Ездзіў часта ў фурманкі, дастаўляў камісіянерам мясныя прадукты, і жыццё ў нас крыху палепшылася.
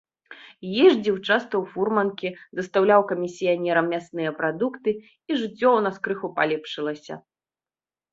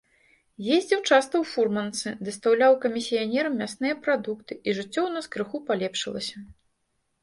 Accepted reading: first